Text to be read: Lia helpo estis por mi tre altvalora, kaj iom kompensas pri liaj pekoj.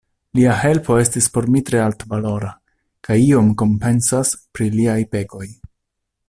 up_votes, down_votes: 2, 0